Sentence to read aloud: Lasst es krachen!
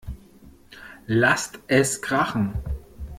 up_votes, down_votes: 2, 0